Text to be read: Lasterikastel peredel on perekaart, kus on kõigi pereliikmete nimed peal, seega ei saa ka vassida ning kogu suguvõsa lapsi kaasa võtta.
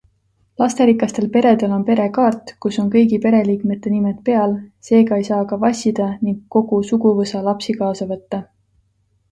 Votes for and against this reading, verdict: 2, 0, accepted